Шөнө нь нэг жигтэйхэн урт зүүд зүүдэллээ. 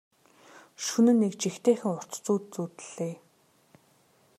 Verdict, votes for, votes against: accepted, 2, 0